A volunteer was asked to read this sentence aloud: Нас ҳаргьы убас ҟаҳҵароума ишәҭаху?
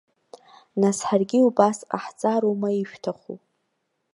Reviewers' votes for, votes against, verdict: 2, 0, accepted